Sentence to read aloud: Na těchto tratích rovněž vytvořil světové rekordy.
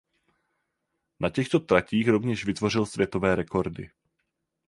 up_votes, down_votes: 4, 0